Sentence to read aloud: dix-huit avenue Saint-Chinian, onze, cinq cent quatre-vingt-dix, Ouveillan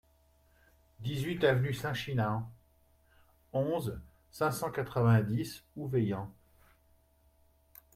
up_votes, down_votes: 1, 3